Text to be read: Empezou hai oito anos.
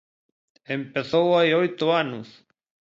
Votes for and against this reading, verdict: 2, 0, accepted